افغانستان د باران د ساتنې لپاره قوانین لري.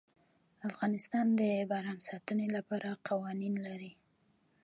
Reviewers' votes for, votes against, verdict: 2, 0, accepted